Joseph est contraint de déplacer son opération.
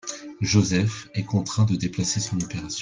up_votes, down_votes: 2, 0